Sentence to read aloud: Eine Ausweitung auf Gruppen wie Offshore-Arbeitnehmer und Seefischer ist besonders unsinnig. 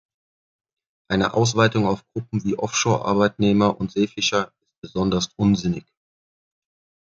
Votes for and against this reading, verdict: 1, 2, rejected